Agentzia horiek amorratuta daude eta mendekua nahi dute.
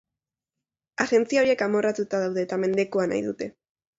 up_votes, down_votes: 1, 2